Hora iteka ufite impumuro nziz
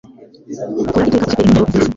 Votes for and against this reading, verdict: 0, 2, rejected